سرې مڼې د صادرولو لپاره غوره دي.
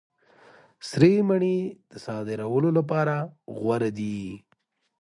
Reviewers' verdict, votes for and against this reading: accepted, 2, 0